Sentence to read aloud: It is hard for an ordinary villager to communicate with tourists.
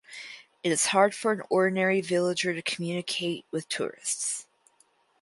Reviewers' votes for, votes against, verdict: 4, 2, accepted